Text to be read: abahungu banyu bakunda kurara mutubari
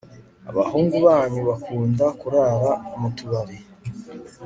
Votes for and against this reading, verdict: 2, 0, accepted